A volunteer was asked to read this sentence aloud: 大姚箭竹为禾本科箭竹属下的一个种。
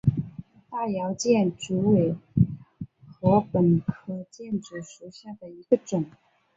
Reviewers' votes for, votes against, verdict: 4, 2, accepted